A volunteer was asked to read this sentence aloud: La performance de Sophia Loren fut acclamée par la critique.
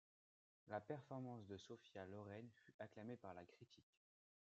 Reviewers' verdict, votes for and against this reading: rejected, 1, 2